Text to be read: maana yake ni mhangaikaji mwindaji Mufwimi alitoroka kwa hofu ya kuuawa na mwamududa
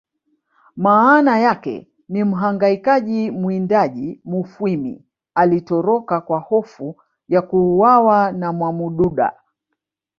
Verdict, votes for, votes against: accepted, 2, 0